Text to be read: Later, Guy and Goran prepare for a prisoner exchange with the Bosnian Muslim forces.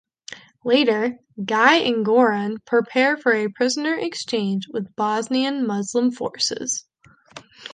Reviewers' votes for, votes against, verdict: 1, 2, rejected